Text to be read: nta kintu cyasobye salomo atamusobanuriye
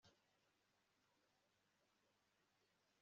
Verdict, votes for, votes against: rejected, 1, 2